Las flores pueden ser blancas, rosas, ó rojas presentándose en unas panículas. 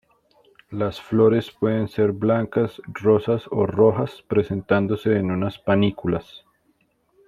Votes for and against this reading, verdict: 2, 0, accepted